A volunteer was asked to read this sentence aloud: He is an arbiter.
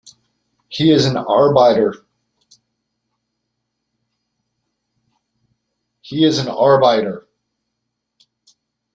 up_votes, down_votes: 0, 2